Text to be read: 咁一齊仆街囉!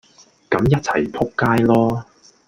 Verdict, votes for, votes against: accepted, 2, 0